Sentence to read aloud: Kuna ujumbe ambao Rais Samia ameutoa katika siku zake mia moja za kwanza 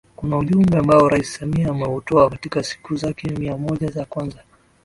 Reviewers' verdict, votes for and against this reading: accepted, 2, 0